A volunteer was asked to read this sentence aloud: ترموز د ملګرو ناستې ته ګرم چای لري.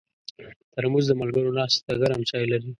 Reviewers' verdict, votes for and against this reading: accepted, 2, 0